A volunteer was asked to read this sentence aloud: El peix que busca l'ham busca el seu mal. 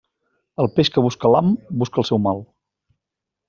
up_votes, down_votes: 4, 0